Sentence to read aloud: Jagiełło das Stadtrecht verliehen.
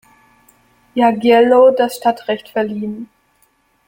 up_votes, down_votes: 2, 1